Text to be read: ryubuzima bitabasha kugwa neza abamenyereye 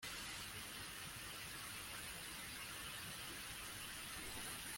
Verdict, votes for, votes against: rejected, 0, 2